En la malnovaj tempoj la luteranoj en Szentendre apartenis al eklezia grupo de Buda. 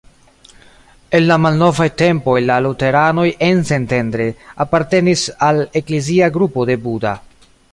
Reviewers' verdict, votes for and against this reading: rejected, 0, 2